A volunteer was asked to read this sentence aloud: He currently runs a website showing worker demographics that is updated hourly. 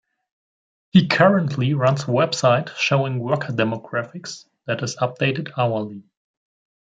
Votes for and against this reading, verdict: 2, 0, accepted